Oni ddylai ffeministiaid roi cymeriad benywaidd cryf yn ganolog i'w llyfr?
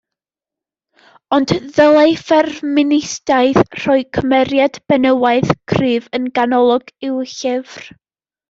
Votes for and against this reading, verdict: 0, 2, rejected